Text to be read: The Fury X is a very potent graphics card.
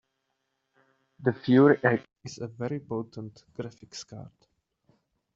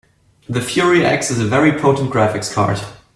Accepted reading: second